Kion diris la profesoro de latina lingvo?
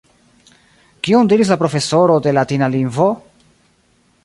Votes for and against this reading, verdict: 1, 2, rejected